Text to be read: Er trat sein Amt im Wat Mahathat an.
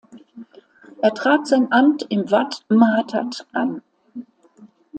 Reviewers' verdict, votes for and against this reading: accepted, 2, 0